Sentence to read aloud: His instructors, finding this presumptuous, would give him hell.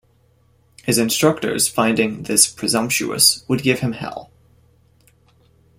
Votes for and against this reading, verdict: 2, 0, accepted